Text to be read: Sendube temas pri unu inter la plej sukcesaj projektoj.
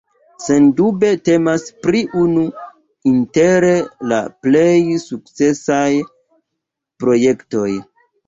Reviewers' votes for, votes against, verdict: 2, 0, accepted